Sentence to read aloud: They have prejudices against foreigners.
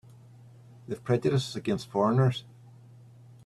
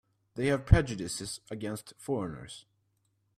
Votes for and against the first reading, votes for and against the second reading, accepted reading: 1, 2, 2, 0, second